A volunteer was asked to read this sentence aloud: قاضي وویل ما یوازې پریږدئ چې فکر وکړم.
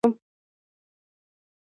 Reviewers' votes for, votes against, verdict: 1, 2, rejected